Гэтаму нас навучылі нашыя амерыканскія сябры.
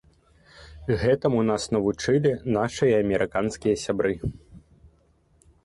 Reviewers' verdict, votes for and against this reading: accepted, 2, 0